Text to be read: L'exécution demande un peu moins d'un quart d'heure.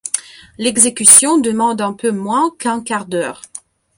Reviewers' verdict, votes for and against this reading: rejected, 1, 2